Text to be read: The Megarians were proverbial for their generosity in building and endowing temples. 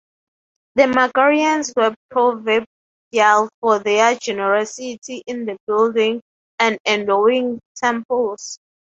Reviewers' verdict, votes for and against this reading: rejected, 3, 6